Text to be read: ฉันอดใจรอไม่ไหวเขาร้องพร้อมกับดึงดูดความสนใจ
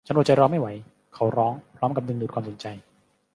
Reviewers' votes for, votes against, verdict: 2, 0, accepted